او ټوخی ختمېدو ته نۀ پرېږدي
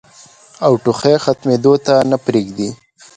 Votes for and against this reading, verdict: 2, 0, accepted